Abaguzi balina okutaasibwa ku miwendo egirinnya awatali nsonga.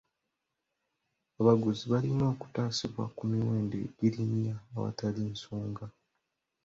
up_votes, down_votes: 2, 0